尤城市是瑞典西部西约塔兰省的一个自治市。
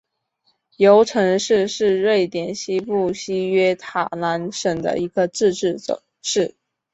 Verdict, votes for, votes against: rejected, 1, 2